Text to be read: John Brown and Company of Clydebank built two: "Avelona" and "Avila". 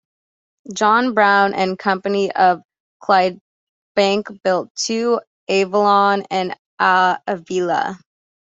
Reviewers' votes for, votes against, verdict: 2, 0, accepted